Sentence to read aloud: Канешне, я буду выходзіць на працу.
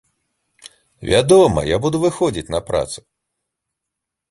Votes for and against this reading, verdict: 0, 2, rejected